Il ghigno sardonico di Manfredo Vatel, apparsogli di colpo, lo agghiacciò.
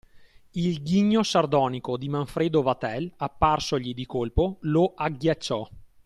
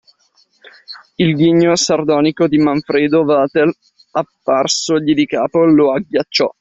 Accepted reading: first